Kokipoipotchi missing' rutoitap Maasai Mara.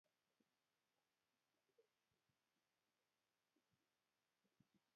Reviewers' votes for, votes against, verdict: 0, 2, rejected